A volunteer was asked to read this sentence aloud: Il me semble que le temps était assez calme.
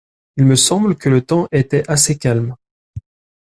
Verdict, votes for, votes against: accepted, 2, 0